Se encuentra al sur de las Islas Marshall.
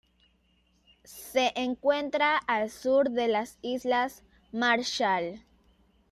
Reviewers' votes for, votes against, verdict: 2, 0, accepted